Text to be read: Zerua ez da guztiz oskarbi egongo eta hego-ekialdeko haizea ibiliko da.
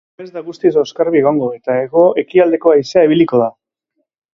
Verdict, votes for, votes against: rejected, 1, 2